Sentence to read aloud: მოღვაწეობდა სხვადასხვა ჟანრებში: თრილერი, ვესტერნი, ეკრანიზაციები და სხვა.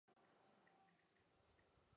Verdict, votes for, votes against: rejected, 1, 2